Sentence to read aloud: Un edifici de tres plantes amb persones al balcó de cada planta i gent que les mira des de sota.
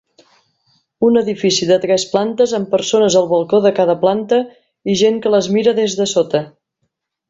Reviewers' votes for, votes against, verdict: 3, 0, accepted